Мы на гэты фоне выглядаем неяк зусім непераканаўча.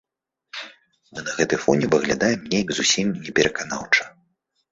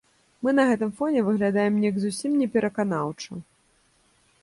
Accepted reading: first